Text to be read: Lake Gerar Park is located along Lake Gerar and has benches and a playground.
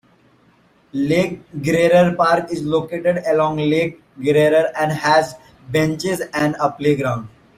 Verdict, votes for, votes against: rejected, 1, 2